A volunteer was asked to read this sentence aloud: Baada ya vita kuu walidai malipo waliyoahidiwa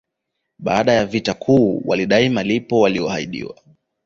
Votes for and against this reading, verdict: 2, 1, accepted